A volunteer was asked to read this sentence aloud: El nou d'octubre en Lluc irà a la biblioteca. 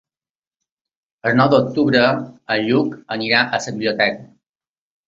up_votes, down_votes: 0, 2